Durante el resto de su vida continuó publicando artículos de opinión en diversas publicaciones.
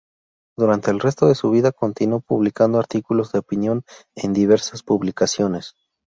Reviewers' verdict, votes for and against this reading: accepted, 2, 0